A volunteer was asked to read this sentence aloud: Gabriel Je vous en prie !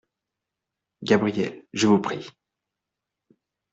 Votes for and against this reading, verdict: 0, 2, rejected